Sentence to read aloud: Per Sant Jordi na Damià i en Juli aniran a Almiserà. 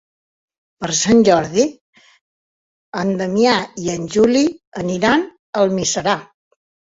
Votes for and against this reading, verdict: 1, 2, rejected